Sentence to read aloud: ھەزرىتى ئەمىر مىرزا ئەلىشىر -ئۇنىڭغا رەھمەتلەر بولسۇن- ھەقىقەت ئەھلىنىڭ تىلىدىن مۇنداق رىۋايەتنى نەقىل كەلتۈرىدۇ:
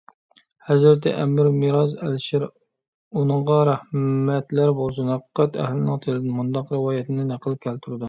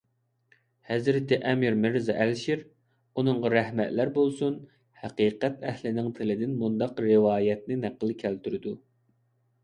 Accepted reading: second